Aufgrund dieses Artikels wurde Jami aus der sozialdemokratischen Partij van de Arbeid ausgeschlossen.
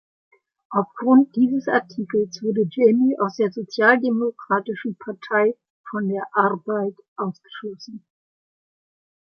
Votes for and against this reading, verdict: 1, 3, rejected